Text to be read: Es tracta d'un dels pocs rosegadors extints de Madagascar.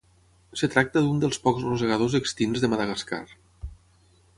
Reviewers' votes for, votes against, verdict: 3, 6, rejected